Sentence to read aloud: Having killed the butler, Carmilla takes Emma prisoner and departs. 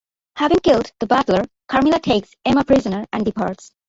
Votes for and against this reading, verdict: 2, 0, accepted